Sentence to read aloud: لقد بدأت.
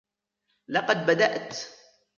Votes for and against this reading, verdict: 1, 2, rejected